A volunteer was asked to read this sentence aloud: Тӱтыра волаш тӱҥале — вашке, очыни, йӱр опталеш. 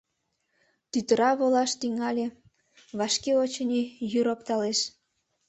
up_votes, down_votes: 2, 0